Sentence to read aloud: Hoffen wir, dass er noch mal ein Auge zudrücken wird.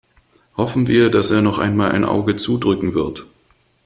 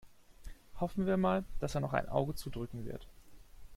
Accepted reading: first